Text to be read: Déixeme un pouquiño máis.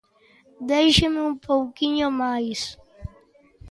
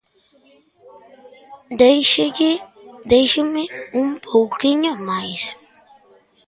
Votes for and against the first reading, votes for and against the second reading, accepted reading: 2, 0, 0, 2, first